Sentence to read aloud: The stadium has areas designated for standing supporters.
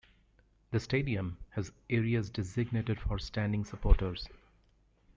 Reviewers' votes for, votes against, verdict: 0, 2, rejected